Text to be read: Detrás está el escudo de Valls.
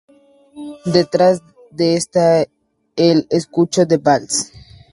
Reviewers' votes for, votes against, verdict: 0, 4, rejected